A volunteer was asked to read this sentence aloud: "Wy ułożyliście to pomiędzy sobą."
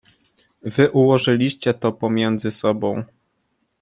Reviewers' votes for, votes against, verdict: 2, 0, accepted